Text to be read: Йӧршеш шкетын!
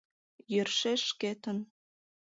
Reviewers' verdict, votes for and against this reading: accepted, 2, 0